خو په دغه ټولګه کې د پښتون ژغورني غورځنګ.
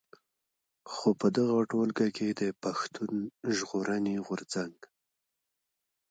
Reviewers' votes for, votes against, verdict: 1, 2, rejected